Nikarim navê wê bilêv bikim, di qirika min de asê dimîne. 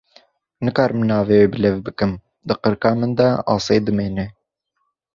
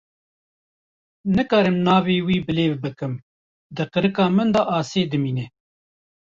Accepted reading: first